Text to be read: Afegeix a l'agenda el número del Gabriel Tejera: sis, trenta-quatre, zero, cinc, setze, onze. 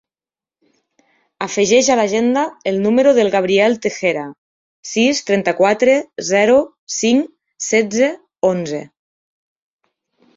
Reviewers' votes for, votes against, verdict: 3, 0, accepted